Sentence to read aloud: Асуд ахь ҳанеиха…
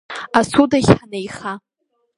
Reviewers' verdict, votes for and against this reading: rejected, 0, 2